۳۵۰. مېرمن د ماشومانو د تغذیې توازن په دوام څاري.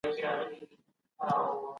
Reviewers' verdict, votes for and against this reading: rejected, 0, 2